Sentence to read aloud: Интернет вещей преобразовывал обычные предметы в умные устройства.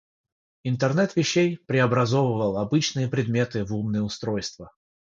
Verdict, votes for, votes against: rejected, 0, 6